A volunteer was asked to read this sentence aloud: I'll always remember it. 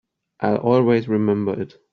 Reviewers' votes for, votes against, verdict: 2, 1, accepted